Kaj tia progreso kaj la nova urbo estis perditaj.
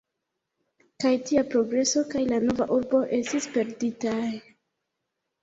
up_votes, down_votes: 1, 2